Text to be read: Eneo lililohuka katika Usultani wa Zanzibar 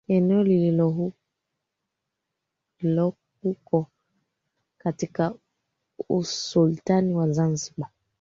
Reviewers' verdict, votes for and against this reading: rejected, 0, 2